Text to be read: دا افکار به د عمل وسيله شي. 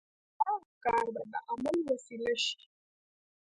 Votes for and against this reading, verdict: 1, 2, rejected